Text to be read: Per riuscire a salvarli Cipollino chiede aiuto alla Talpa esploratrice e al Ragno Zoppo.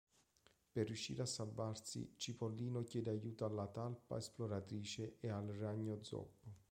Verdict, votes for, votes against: rejected, 0, 2